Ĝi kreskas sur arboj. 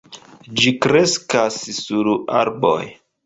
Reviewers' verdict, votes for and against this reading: rejected, 0, 2